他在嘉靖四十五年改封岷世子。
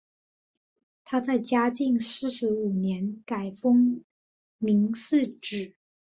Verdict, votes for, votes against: accepted, 2, 1